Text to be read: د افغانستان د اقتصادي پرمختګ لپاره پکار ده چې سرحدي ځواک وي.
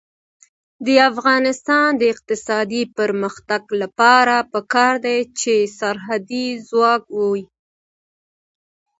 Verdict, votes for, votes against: accepted, 2, 0